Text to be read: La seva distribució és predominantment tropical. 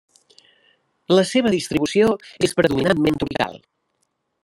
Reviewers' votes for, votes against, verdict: 0, 2, rejected